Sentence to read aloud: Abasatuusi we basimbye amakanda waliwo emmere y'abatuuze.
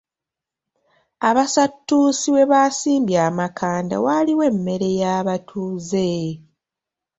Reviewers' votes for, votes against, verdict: 1, 2, rejected